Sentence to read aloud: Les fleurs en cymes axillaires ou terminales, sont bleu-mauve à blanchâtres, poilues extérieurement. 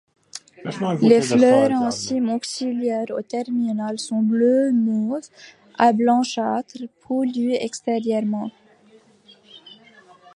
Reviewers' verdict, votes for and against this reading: rejected, 0, 2